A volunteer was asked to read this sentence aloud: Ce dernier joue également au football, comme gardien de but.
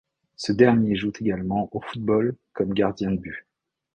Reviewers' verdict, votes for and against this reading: rejected, 1, 2